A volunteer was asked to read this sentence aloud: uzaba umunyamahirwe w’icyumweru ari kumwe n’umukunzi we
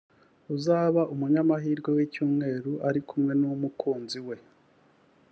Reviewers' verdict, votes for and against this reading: accepted, 2, 0